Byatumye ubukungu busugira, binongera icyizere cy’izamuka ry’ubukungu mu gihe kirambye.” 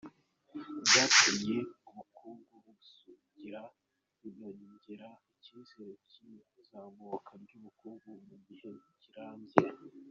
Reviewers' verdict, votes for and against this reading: rejected, 0, 2